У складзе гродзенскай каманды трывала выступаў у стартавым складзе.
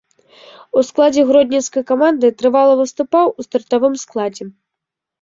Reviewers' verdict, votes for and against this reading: rejected, 1, 2